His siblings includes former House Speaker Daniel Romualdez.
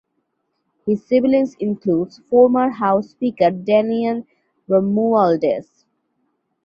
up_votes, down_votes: 2, 0